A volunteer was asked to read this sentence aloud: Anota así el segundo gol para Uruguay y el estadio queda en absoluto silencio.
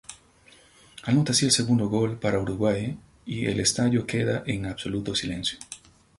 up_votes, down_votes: 2, 2